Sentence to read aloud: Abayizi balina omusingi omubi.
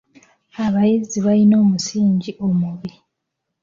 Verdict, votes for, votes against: rejected, 1, 2